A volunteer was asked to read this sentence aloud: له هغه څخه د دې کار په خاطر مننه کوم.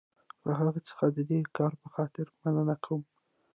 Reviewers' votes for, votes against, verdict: 1, 2, rejected